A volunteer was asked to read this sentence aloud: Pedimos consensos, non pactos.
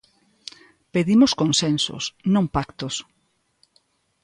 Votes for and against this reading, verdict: 2, 0, accepted